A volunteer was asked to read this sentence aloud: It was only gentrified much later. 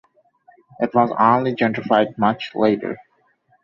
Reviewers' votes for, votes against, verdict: 2, 0, accepted